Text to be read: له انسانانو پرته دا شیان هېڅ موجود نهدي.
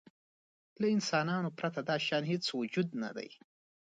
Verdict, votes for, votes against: accepted, 2, 0